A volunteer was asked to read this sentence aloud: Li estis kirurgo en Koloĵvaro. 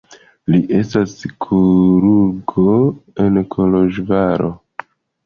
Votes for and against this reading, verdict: 0, 2, rejected